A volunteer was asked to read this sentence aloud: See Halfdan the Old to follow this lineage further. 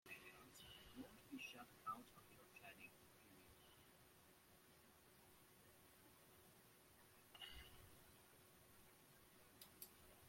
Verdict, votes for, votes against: rejected, 0, 2